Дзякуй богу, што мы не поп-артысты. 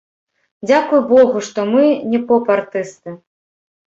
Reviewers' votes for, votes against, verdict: 1, 3, rejected